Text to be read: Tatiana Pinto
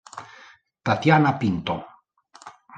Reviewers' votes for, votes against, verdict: 2, 0, accepted